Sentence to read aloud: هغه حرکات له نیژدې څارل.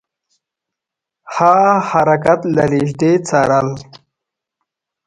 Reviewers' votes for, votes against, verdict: 2, 0, accepted